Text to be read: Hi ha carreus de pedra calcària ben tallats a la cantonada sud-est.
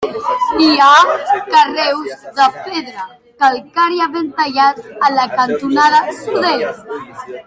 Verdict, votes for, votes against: rejected, 1, 2